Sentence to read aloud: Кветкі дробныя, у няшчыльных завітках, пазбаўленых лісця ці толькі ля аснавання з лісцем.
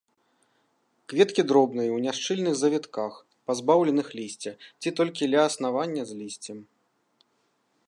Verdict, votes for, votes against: accepted, 2, 0